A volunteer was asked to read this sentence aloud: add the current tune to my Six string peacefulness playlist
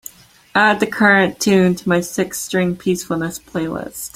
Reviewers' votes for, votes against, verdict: 2, 0, accepted